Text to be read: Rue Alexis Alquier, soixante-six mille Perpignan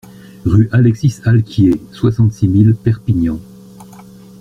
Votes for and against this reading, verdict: 2, 0, accepted